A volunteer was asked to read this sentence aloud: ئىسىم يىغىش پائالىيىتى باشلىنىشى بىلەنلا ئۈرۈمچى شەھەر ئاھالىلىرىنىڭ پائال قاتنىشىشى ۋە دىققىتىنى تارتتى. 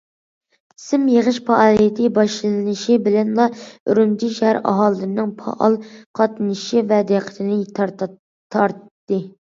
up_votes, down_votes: 0, 2